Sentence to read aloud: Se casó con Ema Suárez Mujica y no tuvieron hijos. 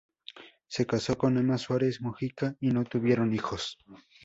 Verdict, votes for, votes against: accepted, 2, 0